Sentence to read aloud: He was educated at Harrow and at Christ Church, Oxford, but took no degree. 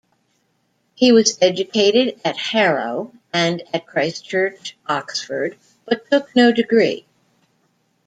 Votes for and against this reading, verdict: 1, 2, rejected